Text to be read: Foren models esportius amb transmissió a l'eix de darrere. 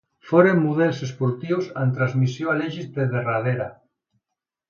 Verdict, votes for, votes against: rejected, 1, 2